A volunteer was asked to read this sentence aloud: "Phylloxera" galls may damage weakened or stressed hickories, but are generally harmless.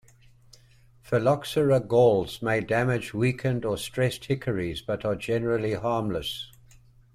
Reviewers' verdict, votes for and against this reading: accepted, 2, 0